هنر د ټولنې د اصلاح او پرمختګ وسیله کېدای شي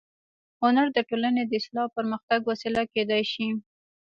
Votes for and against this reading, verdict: 2, 3, rejected